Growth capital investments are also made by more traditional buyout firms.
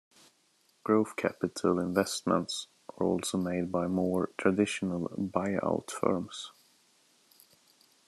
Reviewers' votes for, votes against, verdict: 2, 0, accepted